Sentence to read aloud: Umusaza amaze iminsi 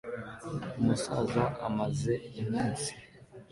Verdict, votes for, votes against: accepted, 2, 0